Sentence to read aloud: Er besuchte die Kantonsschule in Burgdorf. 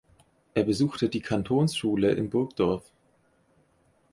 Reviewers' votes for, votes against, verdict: 4, 0, accepted